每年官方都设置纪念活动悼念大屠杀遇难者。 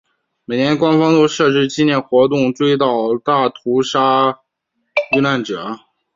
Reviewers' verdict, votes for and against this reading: accepted, 2, 0